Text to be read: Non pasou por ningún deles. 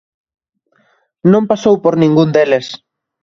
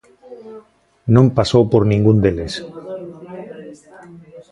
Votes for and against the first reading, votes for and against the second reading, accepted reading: 2, 0, 1, 2, first